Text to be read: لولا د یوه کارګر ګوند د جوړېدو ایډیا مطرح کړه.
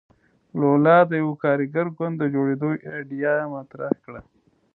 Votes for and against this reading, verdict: 0, 2, rejected